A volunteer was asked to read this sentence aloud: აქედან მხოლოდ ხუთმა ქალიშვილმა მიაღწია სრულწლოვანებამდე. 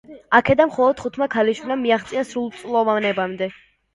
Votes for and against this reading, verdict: 1, 2, rejected